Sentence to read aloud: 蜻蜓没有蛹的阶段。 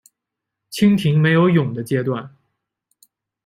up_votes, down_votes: 2, 0